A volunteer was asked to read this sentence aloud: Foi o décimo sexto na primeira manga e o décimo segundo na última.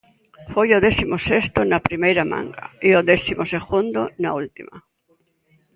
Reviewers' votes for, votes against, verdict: 2, 0, accepted